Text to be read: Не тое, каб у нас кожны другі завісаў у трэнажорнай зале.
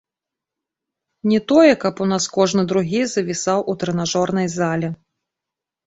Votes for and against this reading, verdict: 2, 0, accepted